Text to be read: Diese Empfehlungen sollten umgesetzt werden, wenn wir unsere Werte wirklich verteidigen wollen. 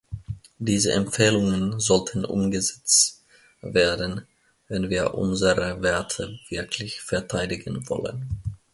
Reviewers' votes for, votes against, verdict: 1, 2, rejected